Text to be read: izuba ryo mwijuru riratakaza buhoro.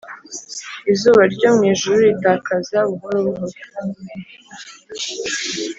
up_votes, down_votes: 1, 2